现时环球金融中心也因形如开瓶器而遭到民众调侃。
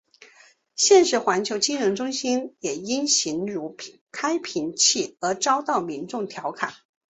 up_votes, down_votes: 2, 0